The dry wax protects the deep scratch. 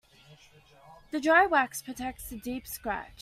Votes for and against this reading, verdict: 2, 0, accepted